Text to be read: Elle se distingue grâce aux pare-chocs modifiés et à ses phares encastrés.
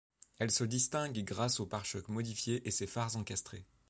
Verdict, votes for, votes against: rejected, 0, 2